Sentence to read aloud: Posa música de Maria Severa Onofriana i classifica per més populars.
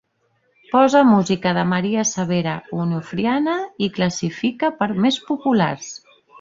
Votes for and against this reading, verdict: 3, 0, accepted